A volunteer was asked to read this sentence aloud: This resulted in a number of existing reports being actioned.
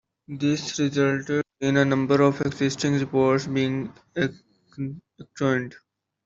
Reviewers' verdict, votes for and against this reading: rejected, 0, 2